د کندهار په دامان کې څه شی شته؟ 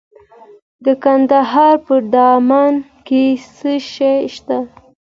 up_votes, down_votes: 1, 2